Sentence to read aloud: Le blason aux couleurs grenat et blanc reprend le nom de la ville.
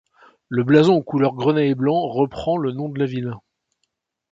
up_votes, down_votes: 1, 2